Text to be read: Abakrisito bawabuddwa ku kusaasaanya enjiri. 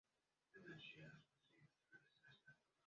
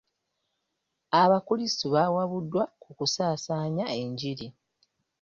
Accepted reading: second